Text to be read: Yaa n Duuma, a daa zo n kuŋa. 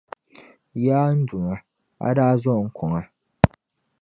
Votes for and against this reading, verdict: 2, 0, accepted